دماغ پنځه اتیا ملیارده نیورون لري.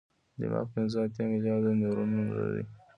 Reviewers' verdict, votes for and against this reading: accepted, 2, 0